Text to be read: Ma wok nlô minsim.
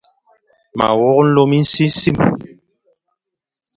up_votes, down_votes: 0, 2